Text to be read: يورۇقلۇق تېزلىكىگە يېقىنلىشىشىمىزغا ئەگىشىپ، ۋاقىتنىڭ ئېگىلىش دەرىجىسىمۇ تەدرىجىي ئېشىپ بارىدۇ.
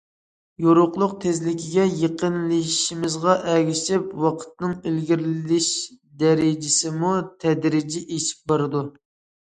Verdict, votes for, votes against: rejected, 0, 2